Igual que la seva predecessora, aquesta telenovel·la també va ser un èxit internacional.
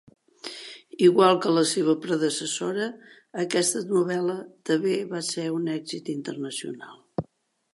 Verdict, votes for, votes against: rejected, 0, 2